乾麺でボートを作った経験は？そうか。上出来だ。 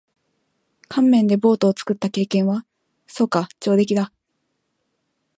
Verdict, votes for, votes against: accepted, 4, 0